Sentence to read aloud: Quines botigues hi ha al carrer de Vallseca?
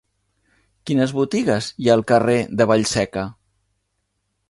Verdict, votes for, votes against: accepted, 4, 0